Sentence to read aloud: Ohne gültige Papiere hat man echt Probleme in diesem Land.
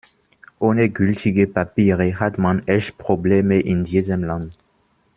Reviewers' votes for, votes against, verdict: 2, 1, accepted